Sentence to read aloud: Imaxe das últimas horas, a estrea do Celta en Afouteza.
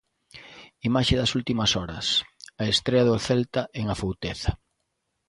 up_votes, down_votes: 2, 0